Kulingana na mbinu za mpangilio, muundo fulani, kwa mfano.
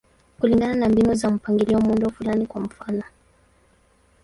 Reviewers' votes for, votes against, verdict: 2, 2, rejected